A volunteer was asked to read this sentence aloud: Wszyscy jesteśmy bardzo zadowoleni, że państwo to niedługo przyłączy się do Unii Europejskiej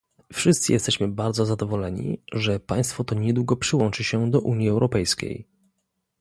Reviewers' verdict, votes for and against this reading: accepted, 2, 1